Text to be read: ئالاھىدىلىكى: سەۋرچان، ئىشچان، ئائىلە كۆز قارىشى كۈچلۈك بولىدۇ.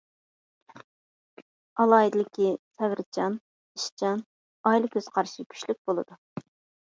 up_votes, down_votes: 1, 2